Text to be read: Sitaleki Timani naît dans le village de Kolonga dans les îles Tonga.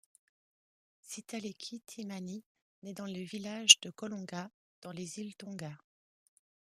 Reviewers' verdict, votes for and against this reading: accepted, 2, 0